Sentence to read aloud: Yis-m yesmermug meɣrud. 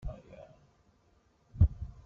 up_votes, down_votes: 0, 2